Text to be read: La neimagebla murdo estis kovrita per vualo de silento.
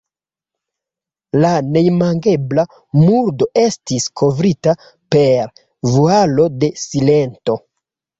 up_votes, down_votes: 2, 0